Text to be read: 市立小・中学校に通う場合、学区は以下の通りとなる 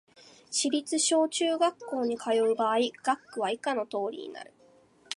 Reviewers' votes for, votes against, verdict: 1, 2, rejected